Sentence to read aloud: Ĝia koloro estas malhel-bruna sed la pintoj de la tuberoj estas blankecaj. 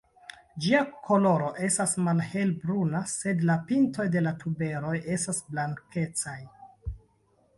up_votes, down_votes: 1, 2